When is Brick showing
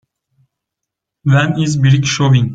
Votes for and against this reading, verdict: 1, 2, rejected